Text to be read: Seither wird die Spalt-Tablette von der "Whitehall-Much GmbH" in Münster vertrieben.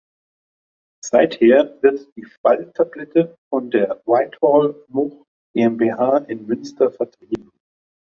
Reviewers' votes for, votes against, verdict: 1, 2, rejected